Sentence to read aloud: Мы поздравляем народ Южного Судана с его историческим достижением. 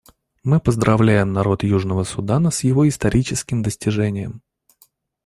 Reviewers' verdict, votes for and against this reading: rejected, 1, 2